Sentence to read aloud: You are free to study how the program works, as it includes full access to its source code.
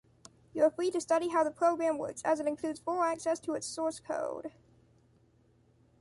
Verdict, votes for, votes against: rejected, 0, 2